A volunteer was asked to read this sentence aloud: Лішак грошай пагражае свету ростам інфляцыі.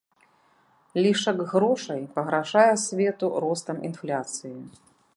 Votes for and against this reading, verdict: 2, 0, accepted